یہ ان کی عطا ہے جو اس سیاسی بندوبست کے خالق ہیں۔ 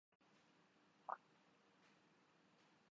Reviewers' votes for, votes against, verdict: 0, 2, rejected